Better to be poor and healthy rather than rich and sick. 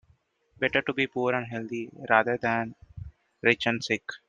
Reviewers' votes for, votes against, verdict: 2, 0, accepted